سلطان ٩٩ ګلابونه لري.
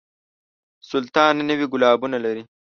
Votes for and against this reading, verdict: 0, 2, rejected